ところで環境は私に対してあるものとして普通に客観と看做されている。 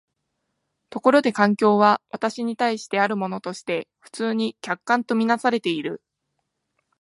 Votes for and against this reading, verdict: 2, 0, accepted